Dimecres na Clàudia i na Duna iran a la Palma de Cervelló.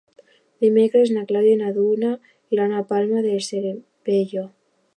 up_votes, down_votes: 0, 2